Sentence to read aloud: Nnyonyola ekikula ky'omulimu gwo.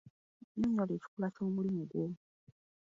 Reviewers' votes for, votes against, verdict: 2, 1, accepted